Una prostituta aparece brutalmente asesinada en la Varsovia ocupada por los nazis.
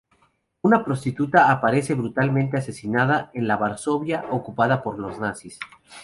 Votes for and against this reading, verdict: 2, 0, accepted